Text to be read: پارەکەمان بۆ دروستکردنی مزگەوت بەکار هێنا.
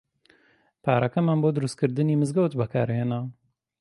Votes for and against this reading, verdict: 2, 0, accepted